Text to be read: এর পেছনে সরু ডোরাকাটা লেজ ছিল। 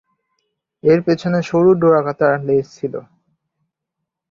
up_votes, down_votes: 5, 0